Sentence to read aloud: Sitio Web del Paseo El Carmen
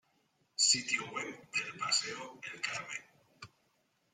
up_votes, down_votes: 1, 2